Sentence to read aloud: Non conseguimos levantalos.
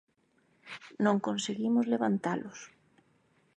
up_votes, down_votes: 2, 0